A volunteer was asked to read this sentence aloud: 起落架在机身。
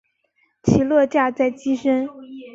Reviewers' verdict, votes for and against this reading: accepted, 4, 1